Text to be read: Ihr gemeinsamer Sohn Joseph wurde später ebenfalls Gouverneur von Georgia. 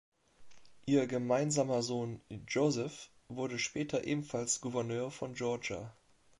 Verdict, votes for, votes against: accepted, 2, 0